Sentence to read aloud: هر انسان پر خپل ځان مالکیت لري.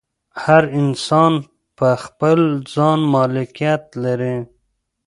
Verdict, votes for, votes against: accepted, 2, 0